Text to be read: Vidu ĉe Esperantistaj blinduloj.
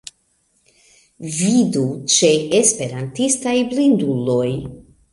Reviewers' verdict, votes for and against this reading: rejected, 1, 2